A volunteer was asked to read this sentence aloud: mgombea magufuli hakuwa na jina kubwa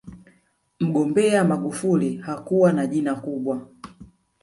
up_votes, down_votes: 1, 2